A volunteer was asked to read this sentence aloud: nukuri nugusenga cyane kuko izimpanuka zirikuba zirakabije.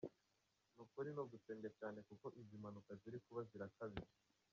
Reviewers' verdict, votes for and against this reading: accepted, 2, 1